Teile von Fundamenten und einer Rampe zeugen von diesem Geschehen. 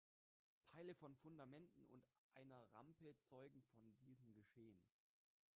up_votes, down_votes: 2, 1